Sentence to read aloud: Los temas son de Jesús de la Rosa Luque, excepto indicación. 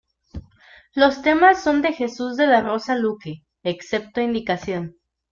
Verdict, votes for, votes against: accepted, 2, 0